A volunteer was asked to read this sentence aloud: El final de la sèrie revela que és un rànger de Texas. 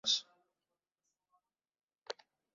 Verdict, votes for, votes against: rejected, 1, 2